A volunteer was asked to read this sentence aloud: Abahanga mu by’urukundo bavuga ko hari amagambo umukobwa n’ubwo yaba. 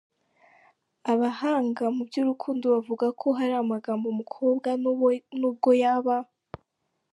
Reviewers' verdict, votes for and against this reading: rejected, 0, 3